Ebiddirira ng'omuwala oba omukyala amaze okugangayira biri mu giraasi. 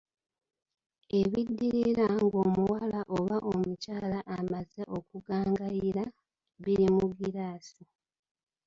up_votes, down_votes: 2, 0